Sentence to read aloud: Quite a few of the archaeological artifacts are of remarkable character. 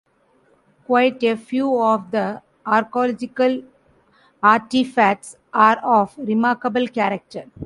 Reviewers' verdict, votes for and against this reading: rejected, 0, 2